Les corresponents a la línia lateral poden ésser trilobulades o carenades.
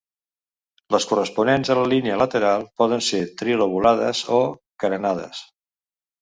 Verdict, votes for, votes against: rejected, 0, 3